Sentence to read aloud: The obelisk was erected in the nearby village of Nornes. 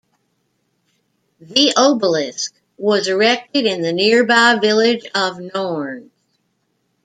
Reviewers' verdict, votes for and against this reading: accepted, 2, 1